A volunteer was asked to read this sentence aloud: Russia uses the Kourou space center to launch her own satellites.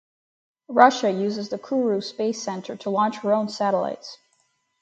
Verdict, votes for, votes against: accepted, 4, 0